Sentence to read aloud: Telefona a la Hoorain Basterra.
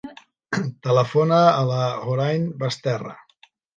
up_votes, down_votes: 3, 0